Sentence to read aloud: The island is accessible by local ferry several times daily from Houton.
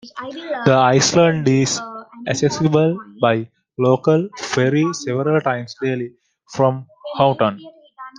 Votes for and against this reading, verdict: 0, 2, rejected